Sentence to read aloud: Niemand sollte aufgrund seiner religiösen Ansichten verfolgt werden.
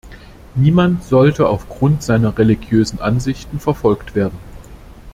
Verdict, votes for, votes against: accepted, 2, 0